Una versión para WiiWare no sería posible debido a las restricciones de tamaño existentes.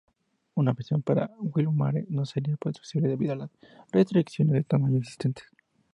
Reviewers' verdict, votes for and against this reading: accepted, 2, 0